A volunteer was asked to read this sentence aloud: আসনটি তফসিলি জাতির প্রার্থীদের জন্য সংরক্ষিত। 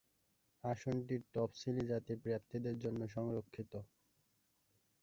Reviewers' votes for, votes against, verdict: 1, 2, rejected